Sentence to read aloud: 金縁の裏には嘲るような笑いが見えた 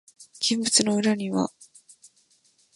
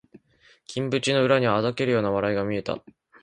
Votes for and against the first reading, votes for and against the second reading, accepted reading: 0, 2, 2, 0, second